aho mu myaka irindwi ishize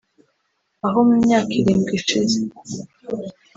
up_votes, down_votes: 1, 2